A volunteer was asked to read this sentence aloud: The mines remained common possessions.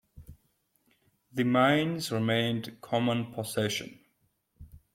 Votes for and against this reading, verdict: 1, 2, rejected